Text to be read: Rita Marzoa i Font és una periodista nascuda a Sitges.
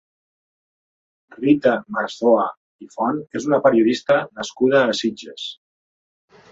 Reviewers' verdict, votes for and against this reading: accepted, 2, 0